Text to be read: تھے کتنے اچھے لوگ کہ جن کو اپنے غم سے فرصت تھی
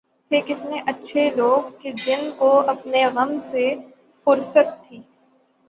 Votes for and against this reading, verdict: 0, 3, rejected